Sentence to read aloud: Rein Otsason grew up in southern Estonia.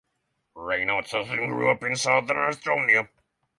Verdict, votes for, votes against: accepted, 6, 0